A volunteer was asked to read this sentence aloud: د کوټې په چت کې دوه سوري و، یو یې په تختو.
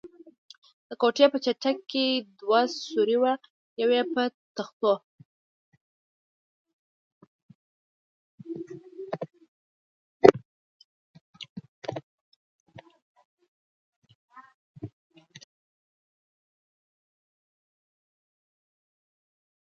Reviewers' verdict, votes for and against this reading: rejected, 0, 2